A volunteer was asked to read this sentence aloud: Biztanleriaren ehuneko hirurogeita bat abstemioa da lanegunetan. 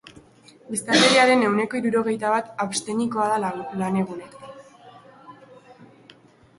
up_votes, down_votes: 0, 3